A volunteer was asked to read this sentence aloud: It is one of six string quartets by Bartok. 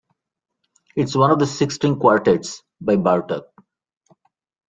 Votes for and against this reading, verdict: 1, 2, rejected